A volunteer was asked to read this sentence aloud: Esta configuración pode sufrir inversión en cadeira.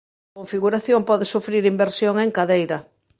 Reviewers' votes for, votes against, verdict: 0, 2, rejected